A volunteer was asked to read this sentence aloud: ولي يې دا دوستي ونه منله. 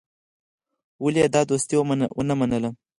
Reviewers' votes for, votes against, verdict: 2, 4, rejected